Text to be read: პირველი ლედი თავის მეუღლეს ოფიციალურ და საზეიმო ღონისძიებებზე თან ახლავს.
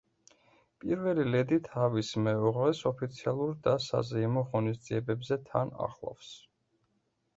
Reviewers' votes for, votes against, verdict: 2, 0, accepted